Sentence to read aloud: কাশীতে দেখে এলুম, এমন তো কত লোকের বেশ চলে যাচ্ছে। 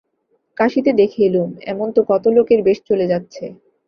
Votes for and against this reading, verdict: 2, 0, accepted